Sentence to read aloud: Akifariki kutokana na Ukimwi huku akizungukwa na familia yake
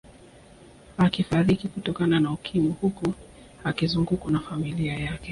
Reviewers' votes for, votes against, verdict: 2, 0, accepted